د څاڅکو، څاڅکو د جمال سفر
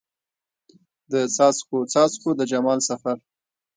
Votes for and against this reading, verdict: 1, 2, rejected